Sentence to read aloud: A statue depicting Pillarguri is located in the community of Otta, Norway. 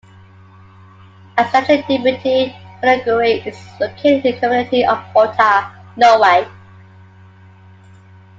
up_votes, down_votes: 2, 1